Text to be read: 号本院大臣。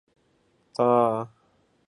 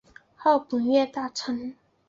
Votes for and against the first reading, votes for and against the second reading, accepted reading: 0, 6, 2, 0, second